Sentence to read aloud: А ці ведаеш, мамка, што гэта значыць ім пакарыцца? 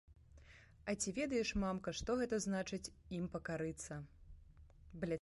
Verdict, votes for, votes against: rejected, 0, 2